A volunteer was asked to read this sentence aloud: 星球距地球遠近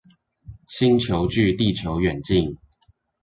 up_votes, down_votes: 2, 0